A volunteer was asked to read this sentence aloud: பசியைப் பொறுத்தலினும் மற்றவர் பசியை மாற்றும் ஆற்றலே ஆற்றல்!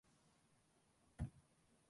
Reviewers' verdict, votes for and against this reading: rejected, 1, 2